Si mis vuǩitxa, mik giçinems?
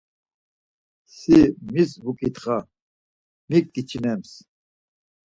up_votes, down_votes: 4, 0